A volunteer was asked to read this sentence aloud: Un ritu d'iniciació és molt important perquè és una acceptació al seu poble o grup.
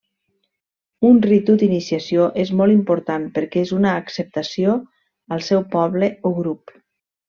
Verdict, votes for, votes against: accepted, 3, 0